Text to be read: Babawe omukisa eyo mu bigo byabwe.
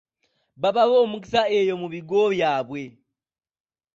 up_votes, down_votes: 1, 2